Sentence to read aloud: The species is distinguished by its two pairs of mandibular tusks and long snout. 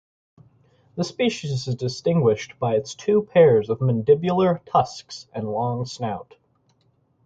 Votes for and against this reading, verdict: 4, 0, accepted